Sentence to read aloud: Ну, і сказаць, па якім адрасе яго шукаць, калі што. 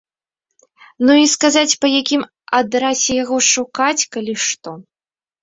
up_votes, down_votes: 0, 2